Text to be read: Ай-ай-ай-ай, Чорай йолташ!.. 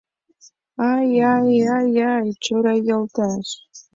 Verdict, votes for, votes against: accepted, 2, 0